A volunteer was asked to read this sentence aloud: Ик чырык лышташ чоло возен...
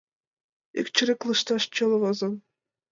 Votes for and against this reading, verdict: 2, 1, accepted